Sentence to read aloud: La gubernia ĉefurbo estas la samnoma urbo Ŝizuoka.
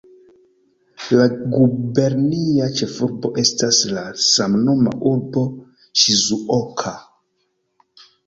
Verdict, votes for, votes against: accepted, 2, 0